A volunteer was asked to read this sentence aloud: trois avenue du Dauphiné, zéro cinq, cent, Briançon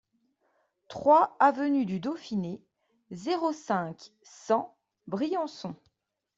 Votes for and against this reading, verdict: 2, 0, accepted